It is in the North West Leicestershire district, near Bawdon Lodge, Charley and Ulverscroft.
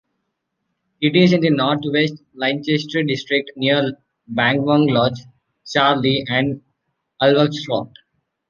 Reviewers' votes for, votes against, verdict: 1, 2, rejected